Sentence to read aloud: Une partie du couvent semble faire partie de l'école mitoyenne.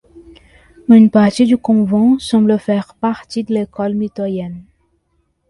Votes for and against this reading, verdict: 2, 0, accepted